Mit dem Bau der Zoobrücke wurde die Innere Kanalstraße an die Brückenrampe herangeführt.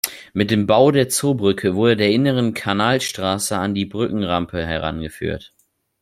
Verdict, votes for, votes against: rejected, 0, 2